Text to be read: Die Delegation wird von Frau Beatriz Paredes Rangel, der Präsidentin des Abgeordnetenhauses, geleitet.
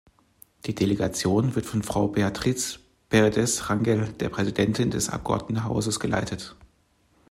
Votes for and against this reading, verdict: 1, 2, rejected